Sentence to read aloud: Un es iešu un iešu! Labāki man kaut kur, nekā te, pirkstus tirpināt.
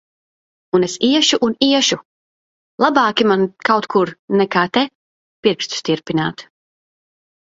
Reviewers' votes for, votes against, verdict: 4, 0, accepted